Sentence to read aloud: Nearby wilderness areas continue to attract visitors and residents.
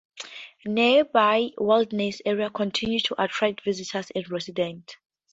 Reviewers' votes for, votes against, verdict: 2, 0, accepted